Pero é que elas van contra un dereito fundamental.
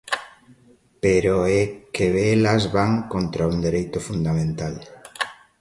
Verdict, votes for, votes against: accepted, 2, 0